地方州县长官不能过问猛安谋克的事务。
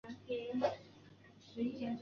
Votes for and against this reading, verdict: 2, 0, accepted